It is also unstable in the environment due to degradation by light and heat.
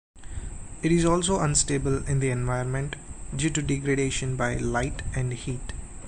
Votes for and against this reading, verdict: 2, 0, accepted